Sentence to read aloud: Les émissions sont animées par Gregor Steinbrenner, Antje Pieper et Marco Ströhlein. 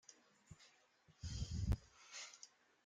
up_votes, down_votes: 0, 2